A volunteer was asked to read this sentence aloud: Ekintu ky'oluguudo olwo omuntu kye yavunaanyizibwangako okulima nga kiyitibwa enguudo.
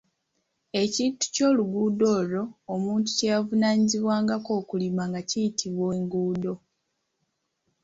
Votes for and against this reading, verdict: 2, 0, accepted